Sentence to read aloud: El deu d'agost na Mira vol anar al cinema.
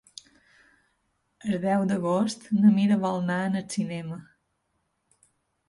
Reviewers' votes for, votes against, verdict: 1, 2, rejected